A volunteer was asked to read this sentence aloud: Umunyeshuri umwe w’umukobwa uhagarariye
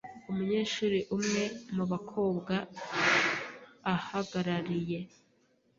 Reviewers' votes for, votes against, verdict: 1, 2, rejected